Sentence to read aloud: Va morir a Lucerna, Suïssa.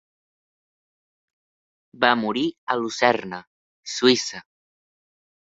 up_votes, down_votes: 2, 1